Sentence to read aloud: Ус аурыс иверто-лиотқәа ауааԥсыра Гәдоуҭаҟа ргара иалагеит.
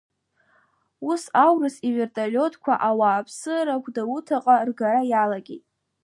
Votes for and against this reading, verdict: 1, 2, rejected